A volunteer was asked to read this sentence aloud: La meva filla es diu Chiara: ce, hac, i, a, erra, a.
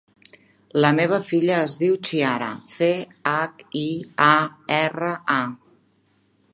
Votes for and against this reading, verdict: 3, 0, accepted